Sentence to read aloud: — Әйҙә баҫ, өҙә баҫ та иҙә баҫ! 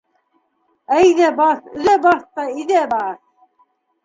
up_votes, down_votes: 1, 2